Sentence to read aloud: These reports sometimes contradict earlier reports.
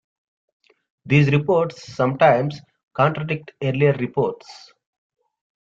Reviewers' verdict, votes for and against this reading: accepted, 2, 0